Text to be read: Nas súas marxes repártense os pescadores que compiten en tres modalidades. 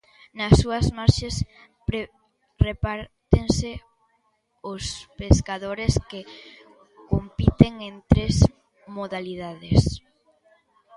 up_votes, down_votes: 0, 2